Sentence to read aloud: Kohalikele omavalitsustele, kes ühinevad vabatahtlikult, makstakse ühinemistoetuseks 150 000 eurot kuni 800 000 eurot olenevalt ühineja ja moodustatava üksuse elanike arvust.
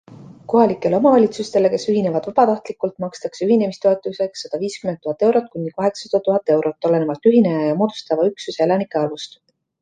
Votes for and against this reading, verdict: 0, 2, rejected